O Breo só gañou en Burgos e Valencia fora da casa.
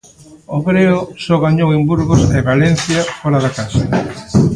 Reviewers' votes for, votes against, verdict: 1, 2, rejected